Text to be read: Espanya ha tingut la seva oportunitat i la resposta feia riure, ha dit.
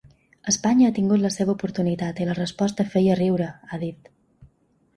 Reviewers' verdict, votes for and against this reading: accepted, 2, 0